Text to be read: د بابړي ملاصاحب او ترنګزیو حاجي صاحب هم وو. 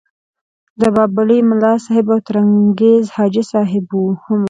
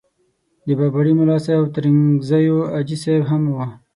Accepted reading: second